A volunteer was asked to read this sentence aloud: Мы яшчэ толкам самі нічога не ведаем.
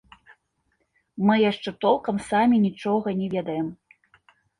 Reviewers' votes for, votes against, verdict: 2, 0, accepted